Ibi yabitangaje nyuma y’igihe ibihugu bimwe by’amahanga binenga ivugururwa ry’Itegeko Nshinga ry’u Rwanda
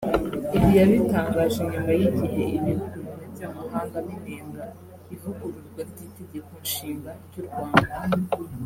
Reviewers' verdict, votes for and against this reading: rejected, 0, 2